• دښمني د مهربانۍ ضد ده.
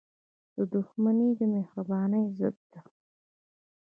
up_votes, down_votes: 1, 2